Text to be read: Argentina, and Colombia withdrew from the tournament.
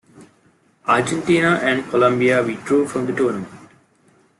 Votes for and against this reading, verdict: 2, 0, accepted